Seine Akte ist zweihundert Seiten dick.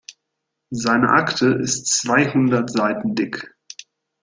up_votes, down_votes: 2, 0